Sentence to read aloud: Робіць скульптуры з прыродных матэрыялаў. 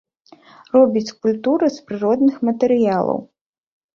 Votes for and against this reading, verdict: 2, 0, accepted